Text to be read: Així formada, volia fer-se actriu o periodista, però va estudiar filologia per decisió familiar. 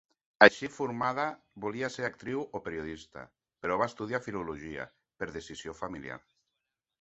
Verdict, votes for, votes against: accepted, 2, 0